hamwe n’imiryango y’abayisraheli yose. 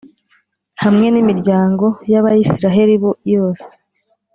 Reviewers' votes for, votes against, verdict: 0, 2, rejected